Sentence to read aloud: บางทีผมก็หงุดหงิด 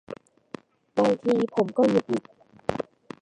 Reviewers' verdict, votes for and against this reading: rejected, 0, 2